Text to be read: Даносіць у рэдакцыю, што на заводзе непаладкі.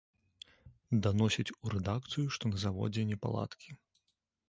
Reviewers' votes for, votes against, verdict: 2, 0, accepted